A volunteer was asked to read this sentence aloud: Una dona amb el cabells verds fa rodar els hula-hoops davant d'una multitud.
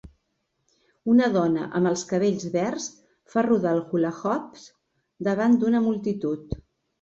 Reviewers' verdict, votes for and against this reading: rejected, 1, 2